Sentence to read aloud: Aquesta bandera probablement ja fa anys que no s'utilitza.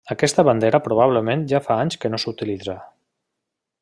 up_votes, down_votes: 3, 0